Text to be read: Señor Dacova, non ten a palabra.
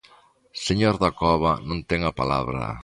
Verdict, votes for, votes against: accepted, 2, 0